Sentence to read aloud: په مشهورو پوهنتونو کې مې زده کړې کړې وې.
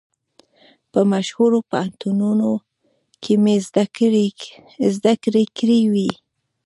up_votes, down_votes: 1, 2